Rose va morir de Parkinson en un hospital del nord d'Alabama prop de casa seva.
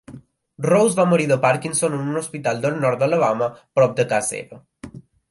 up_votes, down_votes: 0, 2